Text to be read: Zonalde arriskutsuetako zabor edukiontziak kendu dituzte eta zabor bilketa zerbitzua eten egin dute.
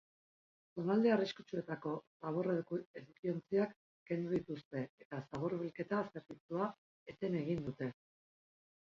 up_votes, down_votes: 0, 2